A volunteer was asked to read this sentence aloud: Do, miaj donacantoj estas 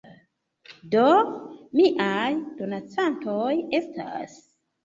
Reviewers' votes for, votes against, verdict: 1, 2, rejected